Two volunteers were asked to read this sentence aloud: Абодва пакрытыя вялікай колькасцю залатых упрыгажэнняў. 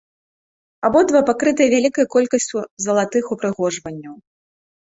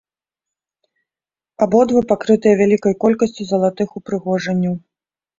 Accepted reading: second